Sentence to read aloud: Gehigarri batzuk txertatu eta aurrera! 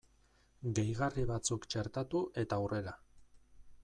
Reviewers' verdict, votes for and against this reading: rejected, 0, 2